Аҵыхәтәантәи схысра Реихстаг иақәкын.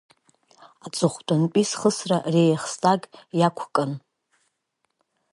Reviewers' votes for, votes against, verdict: 2, 1, accepted